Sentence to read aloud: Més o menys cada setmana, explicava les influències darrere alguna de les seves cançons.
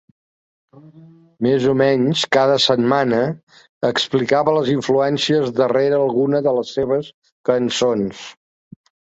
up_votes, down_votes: 3, 0